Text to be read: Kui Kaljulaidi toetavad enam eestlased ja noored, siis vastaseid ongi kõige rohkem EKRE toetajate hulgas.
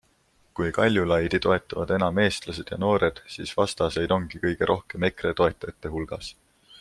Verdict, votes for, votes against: accepted, 2, 0